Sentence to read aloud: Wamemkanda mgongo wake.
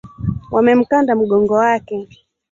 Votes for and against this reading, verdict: 1, 3, rejected